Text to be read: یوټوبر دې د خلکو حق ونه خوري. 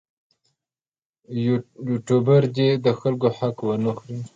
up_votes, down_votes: 2, 0